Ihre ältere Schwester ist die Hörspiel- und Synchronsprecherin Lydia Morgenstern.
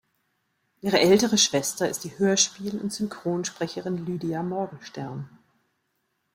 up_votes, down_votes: 2, 0